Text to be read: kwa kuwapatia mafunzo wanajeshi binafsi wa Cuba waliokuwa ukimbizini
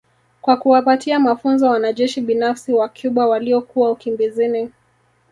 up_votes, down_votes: 2, 1